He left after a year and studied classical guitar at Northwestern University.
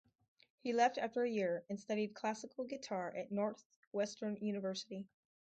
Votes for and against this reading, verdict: 2, 2, rejected